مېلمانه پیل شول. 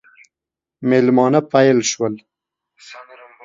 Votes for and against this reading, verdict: 2, 0, accepted